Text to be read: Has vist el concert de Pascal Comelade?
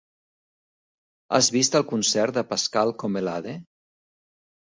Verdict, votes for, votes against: rejected, 1, 2